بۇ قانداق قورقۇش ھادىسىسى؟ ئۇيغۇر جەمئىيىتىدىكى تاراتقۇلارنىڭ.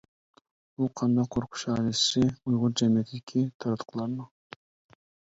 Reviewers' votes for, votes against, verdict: 0, 2, rejected